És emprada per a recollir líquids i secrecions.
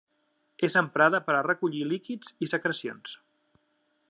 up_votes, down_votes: 3, 0